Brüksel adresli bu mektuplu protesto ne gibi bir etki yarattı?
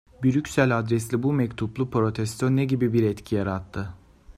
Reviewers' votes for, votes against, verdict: 2, 0, accepted